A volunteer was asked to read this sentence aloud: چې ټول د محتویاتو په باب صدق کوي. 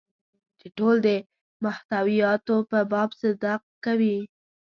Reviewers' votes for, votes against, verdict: 0, 2, rejected